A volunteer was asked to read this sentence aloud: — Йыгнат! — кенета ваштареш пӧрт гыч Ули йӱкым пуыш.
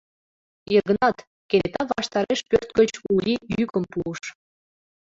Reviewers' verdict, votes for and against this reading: accepted, 2, 0